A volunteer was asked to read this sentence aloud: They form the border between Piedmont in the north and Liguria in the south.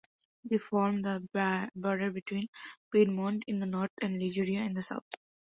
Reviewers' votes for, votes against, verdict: 0, 2, rejected